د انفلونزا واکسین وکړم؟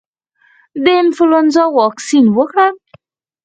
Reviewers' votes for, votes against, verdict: 2, 4, rejected